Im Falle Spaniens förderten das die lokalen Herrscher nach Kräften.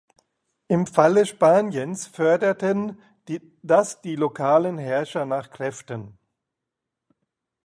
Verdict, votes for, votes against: rejected, 0, 2